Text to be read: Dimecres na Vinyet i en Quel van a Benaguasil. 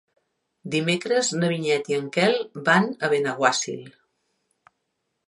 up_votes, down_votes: 3, 0